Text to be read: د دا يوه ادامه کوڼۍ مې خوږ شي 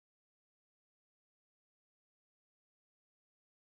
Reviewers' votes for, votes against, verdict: 0, 2, rejected